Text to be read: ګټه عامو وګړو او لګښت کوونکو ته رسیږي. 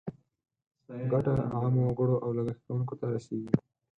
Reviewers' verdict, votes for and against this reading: accepted, 4, 0